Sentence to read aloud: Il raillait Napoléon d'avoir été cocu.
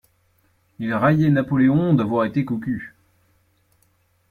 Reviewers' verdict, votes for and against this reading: accepted, 2, 0